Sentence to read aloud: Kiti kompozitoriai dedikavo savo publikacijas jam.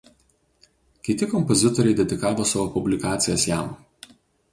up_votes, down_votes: 2, 0